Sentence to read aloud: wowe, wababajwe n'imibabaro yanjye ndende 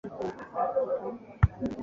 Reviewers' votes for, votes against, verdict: 0, 2, rejected